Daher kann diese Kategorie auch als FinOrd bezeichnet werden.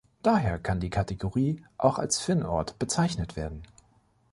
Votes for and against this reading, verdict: 0, 2, rejected